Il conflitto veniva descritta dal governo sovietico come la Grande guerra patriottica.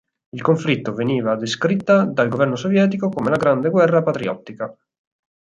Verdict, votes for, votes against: accepted, 4, 0